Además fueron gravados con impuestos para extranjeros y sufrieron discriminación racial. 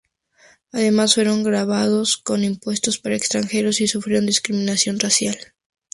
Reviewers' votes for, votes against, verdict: 2, 0, accepted